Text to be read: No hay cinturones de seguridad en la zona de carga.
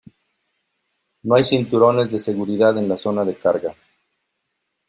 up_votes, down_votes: 2, 1